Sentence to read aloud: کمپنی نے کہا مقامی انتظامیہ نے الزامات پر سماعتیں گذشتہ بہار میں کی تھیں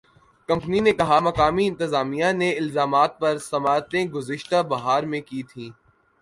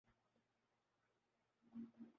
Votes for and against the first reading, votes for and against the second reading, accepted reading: 2, 0, 0, 2, first